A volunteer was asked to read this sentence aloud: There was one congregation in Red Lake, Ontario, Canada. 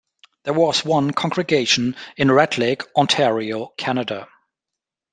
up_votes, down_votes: 2, 0